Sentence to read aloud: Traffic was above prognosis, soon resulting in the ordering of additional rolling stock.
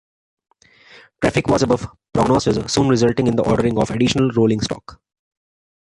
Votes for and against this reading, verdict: 1, 2, rejected